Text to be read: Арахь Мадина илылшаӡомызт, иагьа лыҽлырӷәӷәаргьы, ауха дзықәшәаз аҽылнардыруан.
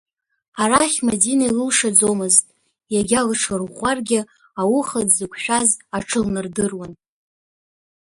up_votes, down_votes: 2, 0